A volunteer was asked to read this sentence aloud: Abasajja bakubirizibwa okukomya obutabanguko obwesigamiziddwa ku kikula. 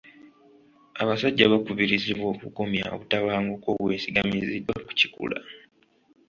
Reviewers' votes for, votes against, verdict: 2, 0, accepted